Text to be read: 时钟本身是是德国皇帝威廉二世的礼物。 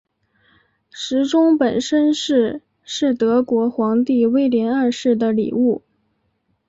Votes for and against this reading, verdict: 7, 0, accepted